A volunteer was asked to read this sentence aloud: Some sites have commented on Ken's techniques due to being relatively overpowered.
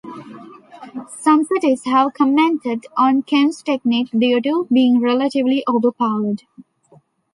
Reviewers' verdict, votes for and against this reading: rejected, 0, 2